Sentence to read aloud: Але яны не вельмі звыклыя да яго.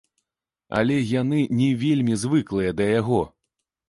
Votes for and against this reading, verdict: 2, 0, accepted